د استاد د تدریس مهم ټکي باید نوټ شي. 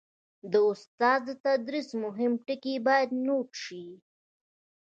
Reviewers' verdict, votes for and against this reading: accepted, 2, 0